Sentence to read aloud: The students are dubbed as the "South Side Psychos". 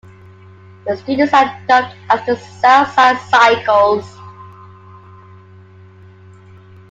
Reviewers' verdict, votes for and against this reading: accepted, 2, 0